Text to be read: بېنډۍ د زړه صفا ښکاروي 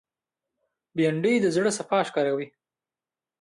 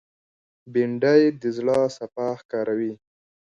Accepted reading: first